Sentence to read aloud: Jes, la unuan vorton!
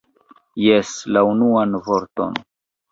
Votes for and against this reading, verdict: 1, 2, rejected